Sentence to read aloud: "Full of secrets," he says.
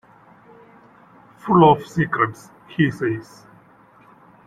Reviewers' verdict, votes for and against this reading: rejected, 1, 2